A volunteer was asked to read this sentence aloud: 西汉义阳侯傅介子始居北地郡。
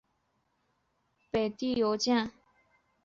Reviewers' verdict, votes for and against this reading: rejected, 1, 4